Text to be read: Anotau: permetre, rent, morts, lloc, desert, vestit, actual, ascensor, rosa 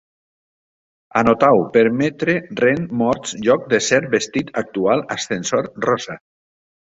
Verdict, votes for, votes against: rejected, 1, 2